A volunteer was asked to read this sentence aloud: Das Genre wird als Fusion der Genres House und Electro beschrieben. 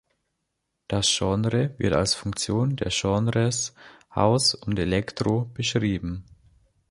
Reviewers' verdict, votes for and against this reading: rejected, 0, 2